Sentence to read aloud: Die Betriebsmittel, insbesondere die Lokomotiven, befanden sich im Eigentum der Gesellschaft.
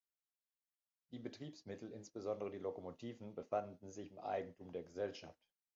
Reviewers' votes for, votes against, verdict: 0, 2, rejected